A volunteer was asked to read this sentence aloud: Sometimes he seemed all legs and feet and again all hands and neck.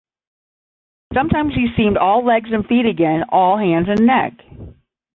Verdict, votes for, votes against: rejected, 0, 10